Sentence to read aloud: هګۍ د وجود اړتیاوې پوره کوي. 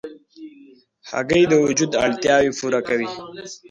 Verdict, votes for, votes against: rejected, 0, 2